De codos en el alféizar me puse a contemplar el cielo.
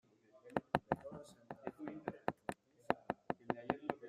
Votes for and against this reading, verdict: 0, 2, rejected